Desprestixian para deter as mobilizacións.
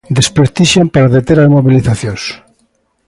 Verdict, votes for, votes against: rejected, 1, 2